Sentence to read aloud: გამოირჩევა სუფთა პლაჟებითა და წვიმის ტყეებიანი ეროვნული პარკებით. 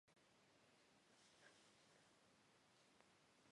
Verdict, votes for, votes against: rejected, 1, 2